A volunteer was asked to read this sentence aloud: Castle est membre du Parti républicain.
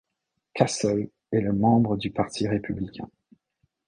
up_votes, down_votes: 0, 2